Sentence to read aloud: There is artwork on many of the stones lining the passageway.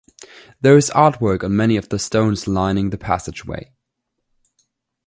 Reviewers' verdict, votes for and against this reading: accepted, 2, 0